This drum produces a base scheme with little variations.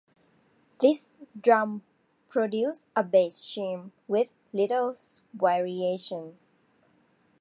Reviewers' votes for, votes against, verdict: 1, 2, rejected